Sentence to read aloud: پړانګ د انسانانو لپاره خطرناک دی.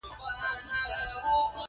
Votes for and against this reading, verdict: 3, 1, accepted